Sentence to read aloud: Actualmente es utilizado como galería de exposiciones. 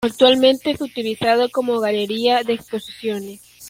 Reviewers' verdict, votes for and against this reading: accepted, 2, 1